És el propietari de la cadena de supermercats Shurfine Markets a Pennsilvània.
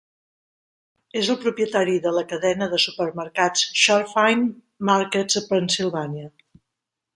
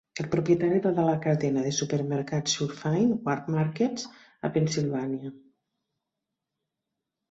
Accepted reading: first